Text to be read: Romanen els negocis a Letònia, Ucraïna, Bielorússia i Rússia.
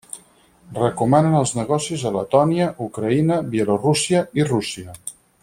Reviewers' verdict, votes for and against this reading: rejected, 0, 4